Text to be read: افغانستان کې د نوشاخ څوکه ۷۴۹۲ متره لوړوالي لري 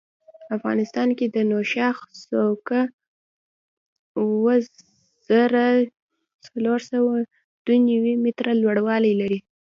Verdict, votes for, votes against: rejected, 0, 2